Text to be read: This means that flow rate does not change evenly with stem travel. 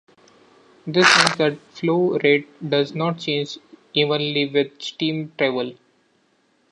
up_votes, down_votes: 0, 2